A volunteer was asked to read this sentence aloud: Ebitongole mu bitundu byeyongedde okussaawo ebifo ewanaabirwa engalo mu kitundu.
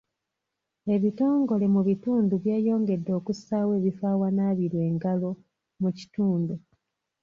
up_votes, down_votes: 2, 0